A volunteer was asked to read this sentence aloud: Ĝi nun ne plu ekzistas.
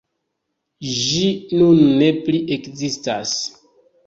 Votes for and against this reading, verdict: 2, 1, accepted